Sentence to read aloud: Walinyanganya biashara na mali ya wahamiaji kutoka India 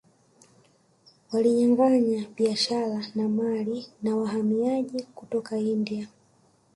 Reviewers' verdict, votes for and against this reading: accepted, 2, 1